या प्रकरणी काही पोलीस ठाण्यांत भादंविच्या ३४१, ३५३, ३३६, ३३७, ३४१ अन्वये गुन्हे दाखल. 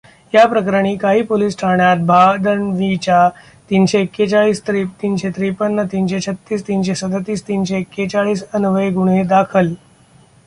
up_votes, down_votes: 0, 2